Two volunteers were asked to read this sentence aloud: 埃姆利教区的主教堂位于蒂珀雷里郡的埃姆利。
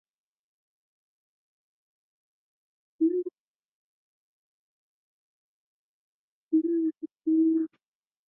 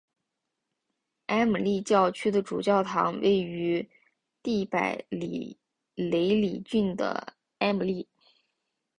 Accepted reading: second